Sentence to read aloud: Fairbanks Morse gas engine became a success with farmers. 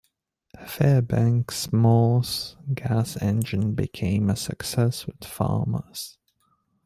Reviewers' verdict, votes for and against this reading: accepted, 2, 0